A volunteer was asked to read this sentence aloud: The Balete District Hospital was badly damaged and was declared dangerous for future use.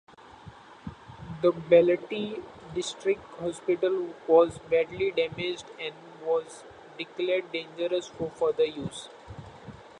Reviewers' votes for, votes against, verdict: 2, 1, accepted